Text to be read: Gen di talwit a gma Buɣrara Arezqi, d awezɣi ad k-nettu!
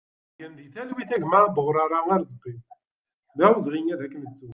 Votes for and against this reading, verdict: 1, 2, rejected